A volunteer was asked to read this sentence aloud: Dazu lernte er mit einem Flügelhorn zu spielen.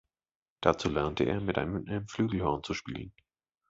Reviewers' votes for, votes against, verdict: 2, 3, rejected